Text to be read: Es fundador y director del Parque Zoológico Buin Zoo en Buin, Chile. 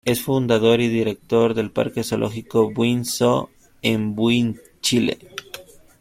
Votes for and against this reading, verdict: 2, 0, accepted